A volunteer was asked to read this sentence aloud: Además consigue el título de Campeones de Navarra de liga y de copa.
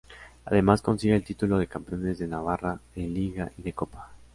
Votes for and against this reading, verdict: 2, 0, accepted